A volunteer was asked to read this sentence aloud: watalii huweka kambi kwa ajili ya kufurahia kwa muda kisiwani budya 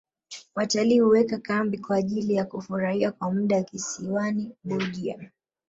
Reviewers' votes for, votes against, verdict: 1, 2, rejected